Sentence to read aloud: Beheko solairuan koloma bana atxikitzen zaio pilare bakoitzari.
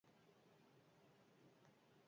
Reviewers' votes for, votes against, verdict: 0, 4, rejected